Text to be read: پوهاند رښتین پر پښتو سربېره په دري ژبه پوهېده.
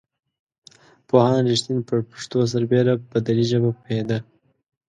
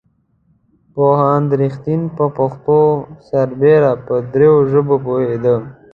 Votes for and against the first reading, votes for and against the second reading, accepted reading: 2, 0, 1, 2, first